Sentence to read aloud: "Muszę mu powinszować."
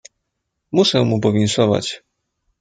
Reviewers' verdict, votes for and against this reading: accepted, 2, 0